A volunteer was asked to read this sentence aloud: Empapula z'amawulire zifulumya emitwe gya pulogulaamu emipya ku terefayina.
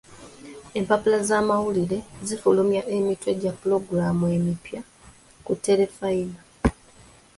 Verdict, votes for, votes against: accepted, 2, 1